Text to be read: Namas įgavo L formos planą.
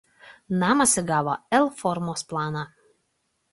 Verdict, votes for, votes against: accepted, 2, 0